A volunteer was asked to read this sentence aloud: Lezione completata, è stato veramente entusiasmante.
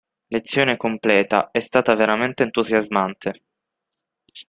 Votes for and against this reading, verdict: 0, 6, rejected